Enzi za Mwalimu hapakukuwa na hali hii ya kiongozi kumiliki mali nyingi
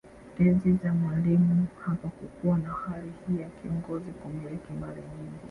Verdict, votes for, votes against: accepted, 3, 1